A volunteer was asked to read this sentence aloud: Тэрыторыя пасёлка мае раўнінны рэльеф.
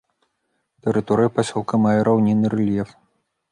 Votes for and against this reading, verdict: 2, 0, accepted